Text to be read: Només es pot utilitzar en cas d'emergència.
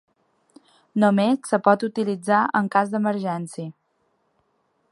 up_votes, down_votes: 1, 3